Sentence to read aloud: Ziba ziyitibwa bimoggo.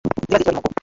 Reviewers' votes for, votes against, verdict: 0, 2, rejected